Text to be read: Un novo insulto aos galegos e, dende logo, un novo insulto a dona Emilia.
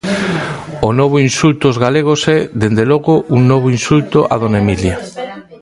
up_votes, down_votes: 0, 3